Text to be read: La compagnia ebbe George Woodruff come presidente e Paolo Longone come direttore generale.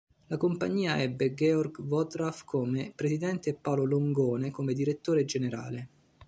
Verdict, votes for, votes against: rejected, 1, 2